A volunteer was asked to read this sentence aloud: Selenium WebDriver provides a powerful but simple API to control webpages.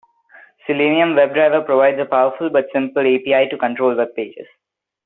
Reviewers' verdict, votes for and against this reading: accepted, 3, 0